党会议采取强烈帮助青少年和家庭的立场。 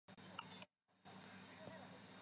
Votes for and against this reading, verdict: 0, 2, rejected